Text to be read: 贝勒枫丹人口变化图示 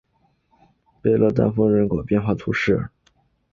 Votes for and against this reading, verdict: 1, 2, rejected